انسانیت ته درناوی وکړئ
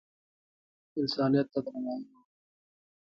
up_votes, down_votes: 1, 2